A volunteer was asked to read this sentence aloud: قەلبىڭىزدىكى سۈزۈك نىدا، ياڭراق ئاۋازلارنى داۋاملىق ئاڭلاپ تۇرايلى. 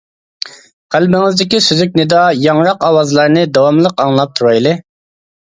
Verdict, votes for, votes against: accepted, 2, 0